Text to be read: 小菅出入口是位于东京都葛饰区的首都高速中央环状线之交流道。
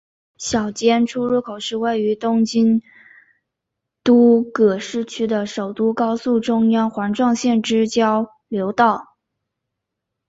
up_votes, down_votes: 5, 1